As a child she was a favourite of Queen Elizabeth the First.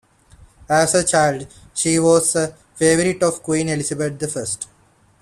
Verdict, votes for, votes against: accepted, 2, 0